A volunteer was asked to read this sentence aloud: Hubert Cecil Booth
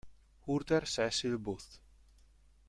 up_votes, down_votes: 1, 2